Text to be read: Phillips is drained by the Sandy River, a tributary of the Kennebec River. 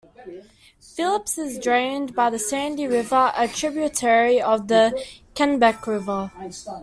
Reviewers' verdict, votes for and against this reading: rejected, 0, 2